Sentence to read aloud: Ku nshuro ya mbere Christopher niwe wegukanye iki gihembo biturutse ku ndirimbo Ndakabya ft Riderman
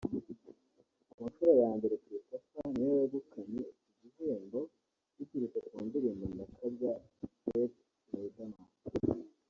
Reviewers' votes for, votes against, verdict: 2, 0, accepted